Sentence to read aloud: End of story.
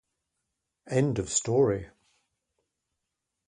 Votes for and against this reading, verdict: 2, 0, accepted